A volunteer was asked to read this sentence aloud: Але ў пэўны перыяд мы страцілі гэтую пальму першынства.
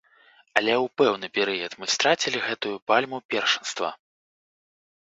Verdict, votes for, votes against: accepted, 3, 0